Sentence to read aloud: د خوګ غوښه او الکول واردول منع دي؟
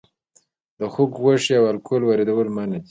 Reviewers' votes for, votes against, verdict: 1, 2, rejected